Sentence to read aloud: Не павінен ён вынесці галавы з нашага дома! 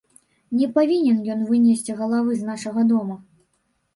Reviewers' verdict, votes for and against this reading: accepted, 2, 0